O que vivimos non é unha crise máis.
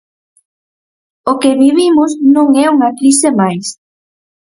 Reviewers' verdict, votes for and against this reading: accepted, 4, 0